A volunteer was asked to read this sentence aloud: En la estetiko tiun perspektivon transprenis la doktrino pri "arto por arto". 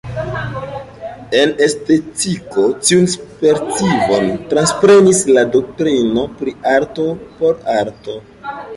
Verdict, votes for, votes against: rejected, 0, 2